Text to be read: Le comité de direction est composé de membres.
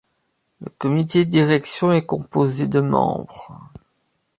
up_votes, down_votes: 0, 2